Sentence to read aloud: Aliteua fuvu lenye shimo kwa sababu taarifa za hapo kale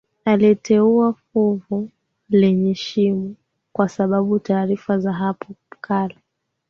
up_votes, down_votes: 2, 1